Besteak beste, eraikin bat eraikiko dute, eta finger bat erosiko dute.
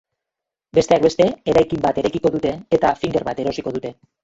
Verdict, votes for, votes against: rejected, 0, 2